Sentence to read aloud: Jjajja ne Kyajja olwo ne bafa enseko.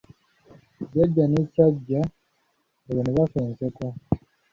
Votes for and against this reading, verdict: 2, 1, accepted